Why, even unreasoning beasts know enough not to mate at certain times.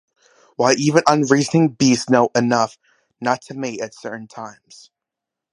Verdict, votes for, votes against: rejected, 1, 2